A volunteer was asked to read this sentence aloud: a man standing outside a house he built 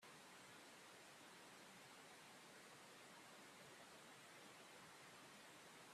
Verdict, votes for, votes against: rejected, 0, 2